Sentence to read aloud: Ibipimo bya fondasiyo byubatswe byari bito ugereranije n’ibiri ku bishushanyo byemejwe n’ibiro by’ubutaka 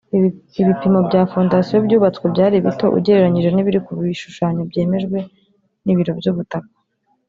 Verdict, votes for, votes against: rejected, 1, 3